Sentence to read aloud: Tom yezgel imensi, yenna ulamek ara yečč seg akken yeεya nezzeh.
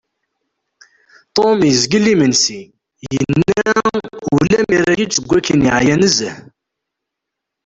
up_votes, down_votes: 1, 2